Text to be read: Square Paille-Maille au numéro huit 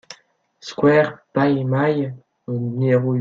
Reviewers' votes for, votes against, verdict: 1, 2, rejected